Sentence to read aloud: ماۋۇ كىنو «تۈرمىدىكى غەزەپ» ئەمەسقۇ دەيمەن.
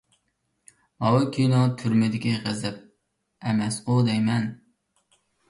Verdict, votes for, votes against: rejected, 1, 2